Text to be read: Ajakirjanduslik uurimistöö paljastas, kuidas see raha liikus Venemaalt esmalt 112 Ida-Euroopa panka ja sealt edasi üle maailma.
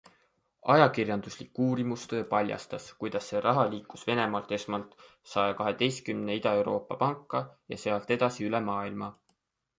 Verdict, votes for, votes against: rejected, 0, 2